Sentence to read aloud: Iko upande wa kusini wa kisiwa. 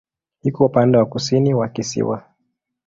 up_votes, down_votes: 2, 0